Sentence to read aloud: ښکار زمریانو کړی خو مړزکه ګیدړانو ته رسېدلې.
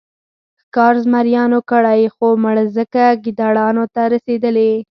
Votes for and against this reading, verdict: 4, 0, accepted